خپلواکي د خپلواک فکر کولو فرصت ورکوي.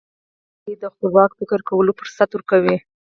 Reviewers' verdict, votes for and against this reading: accepted, 4, 0